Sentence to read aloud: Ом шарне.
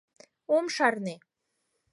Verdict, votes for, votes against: accepted, 6, 0